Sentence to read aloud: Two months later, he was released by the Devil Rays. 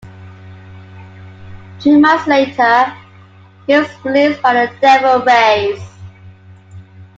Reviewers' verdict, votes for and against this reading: rejected, 0, 2